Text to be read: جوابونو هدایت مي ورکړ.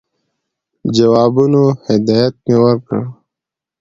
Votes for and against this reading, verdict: 2, 0, accepted